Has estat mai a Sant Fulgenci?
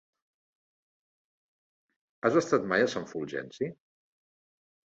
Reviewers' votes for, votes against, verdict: 3, 0, accepted